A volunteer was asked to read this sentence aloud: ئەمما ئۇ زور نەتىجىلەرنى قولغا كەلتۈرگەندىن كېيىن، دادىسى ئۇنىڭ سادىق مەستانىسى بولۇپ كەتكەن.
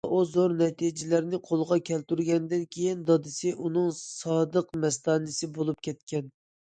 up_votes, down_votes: 1, 2